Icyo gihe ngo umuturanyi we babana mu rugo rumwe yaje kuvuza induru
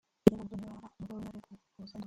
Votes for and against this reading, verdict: 0, 2, rejected